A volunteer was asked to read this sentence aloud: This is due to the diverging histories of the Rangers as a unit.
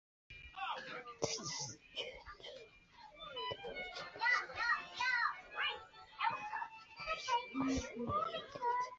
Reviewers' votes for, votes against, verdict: 0, 2, rejected